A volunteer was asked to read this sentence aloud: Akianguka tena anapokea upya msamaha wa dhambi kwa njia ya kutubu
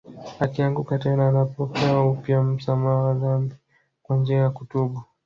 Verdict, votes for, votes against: accepted, 2, 0